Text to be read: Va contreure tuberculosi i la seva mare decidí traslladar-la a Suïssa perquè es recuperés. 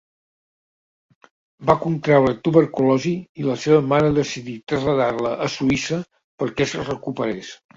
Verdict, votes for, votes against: accepted, 2, 0